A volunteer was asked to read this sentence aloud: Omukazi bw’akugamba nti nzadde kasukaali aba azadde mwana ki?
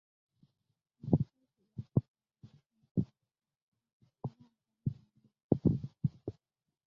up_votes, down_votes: 0, 2